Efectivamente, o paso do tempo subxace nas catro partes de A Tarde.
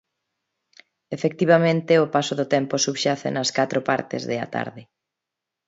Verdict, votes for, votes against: accepted, 13, 1